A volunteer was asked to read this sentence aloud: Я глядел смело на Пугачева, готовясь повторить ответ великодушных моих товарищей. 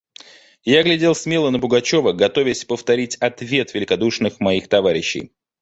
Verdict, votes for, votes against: accepted, 2, 0